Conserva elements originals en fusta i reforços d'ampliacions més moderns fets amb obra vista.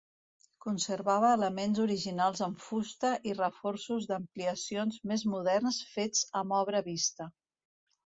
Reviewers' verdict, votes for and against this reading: rejected, 1, 2